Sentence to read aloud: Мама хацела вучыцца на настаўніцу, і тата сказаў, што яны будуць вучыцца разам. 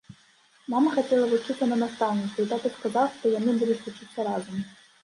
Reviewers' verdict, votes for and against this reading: rejected, 1, 2